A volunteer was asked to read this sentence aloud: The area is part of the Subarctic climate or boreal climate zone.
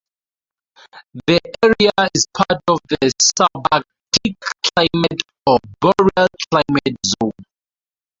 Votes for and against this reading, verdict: 0, 4, rejected